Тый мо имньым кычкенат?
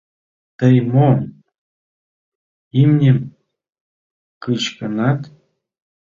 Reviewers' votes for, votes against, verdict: 2, 1, accepted